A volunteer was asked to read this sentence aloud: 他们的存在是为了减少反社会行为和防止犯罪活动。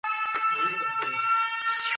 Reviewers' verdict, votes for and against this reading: rejected, 0, 2